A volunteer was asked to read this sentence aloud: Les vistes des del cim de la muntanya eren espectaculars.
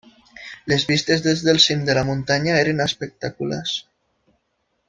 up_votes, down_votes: 2, 0